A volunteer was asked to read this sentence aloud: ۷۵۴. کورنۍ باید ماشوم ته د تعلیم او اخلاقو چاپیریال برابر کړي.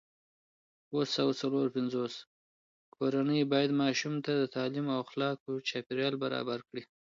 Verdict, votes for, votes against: rejected, 0, 2